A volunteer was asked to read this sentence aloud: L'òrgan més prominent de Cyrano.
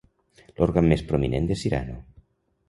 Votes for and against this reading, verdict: 2, 0, accepted